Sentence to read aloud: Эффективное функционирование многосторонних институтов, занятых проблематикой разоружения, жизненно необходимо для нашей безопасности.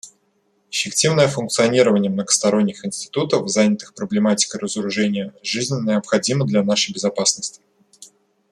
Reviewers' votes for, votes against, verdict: 1, 2, rejected